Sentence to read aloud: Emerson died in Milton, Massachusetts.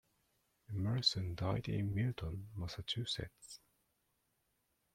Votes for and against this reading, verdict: 2, 0, accepted